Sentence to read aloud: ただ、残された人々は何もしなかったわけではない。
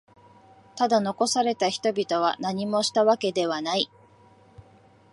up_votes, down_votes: 1, 2